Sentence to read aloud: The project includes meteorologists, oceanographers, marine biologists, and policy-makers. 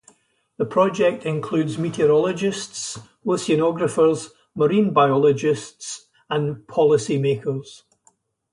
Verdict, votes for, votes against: accepted, 2, 0